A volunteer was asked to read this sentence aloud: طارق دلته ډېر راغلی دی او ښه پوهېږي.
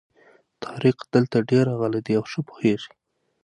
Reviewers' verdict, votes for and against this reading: accepted, 6, 0